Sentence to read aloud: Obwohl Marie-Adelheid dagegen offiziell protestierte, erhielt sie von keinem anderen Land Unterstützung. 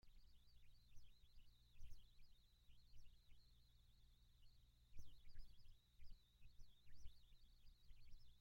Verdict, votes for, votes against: rejected, 0, 2